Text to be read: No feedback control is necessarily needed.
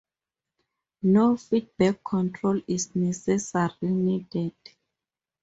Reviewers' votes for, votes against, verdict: 2, 2, rejected